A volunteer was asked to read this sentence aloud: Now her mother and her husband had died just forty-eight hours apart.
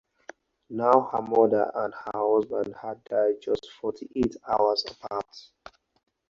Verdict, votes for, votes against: accepted, 2, 0